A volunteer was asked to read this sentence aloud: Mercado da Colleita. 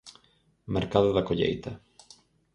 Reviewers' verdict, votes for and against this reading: accepted, 4, 0